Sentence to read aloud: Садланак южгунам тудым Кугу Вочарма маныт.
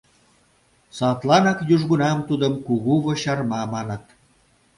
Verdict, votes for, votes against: accepted, 2, 0